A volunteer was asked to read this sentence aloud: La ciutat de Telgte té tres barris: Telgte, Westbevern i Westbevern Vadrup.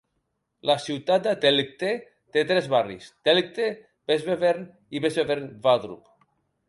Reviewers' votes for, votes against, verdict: 1, 2, rejected